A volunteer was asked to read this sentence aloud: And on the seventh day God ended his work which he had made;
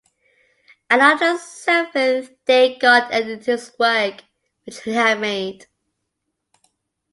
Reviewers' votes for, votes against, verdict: 0, 2, rejected